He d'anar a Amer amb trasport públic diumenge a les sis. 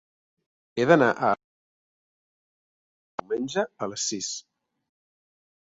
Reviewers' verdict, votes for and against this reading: rejected, 0, 2